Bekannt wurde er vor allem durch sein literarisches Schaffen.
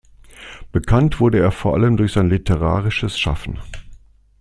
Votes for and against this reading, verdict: 2, 0, accepted